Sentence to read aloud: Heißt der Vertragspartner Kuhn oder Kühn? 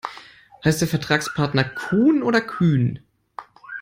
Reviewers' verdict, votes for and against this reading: accepted, 2, 0